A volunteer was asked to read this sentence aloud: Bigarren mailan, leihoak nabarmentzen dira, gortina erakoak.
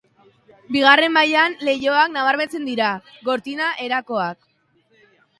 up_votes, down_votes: 2, 0